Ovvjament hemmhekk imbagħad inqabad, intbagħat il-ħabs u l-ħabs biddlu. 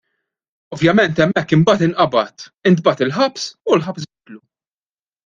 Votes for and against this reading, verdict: 0, 2, rejected